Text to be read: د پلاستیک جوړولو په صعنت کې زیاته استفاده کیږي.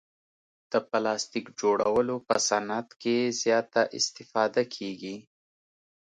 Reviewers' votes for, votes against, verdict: 2, 1, accepted